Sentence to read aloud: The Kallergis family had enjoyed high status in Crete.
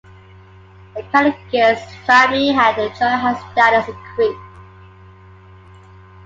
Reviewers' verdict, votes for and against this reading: rejected, 1, 2